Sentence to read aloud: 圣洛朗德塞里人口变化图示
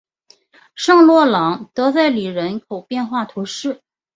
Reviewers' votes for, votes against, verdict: 2, 0, accepted